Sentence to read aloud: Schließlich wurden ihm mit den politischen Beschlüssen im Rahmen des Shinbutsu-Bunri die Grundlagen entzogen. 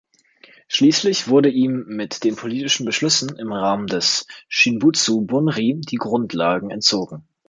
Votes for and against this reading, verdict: 0, 2, rejected